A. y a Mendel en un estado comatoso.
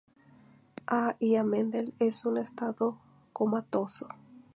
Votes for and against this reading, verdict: 0, 2, rejected